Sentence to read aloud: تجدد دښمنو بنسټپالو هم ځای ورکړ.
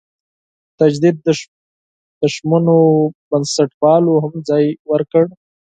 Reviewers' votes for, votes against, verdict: 2, 4, rejected